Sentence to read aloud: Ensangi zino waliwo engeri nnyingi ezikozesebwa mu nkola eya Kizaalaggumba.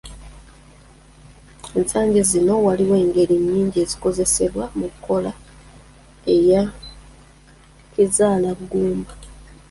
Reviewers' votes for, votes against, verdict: 0, 2, rejected